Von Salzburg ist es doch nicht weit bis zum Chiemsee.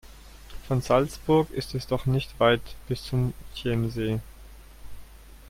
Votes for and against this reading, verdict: 1, 2, rejected